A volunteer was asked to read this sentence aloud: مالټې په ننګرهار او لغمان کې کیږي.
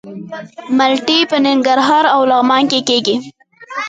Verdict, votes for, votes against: rejected, 1, 2